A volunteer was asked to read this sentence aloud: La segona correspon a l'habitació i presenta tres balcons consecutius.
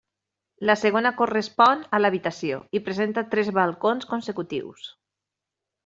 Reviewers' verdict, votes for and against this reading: accepted, 3, 0